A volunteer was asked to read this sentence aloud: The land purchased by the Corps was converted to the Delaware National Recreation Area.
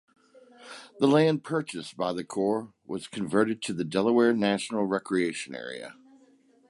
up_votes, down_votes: 3, 0